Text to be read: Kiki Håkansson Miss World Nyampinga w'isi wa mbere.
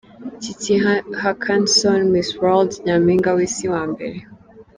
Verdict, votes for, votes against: rejected, 1, 2